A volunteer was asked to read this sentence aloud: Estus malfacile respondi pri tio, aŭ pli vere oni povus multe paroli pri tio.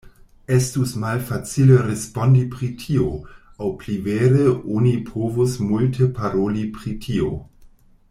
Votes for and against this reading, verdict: 2, 0, accepted